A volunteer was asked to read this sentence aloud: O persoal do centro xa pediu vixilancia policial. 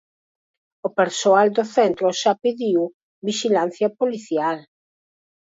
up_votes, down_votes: 4, 0